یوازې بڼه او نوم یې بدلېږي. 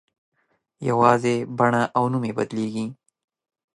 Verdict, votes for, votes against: accepted, 2, 0